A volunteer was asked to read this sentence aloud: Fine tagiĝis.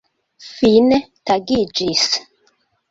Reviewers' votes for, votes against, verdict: 2, 0, accepted